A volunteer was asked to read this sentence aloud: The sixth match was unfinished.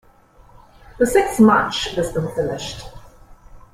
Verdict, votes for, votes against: rejected, 0, 2